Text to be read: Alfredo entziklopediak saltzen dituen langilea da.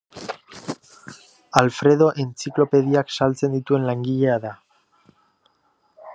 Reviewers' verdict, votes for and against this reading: accepted, 2, 0